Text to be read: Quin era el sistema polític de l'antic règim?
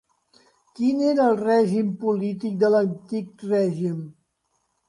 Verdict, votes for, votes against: rejected, 0, 2